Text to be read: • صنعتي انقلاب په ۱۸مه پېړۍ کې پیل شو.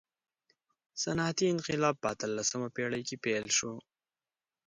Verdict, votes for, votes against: rejected, 0, 2